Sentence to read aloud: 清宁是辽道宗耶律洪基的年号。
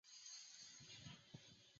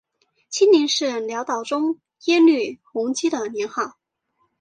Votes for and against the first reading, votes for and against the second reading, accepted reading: 0, 3, 2, 0, second